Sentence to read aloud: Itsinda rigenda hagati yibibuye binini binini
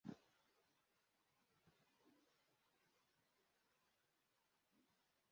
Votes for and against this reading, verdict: 0, 2, rejected